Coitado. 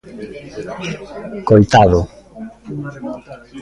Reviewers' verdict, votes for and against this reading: rejected, 1, 2